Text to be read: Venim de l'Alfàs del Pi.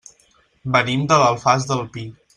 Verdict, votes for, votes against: accepted, 3, 0